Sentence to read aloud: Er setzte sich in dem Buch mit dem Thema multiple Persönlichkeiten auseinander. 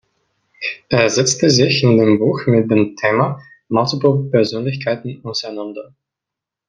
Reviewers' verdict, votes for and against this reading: rejected, 0, 2